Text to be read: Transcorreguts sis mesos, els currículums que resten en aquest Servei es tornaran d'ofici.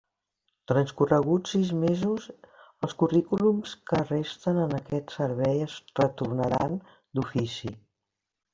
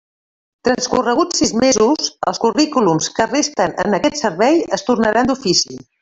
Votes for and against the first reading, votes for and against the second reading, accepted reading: 2, 0, 1, 2, first